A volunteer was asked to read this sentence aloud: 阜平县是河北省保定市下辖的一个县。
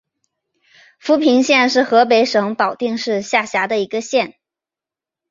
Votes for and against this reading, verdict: 2, 0, accepted